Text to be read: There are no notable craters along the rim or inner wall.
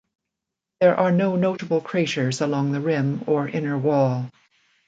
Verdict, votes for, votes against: rejected, 1, 2